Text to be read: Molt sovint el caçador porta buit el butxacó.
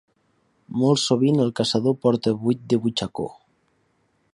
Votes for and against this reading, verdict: 1, 2, rejected